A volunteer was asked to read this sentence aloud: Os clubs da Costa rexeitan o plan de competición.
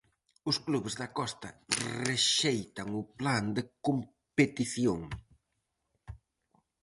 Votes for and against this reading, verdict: 2, 2, rejected